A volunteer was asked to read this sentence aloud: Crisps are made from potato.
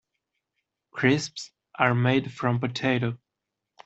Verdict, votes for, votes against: accepted, 2, 0